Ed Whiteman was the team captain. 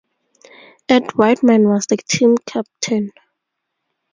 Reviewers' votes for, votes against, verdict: 2, 0, accepted